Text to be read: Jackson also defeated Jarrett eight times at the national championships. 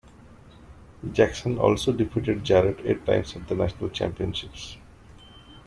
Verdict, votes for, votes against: accepted, 2, 0